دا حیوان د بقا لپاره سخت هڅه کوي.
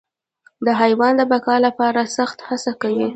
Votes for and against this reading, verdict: 0, 2, rejected